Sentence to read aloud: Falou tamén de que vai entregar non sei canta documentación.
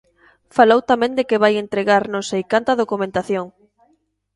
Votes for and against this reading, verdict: 1, 2, rejected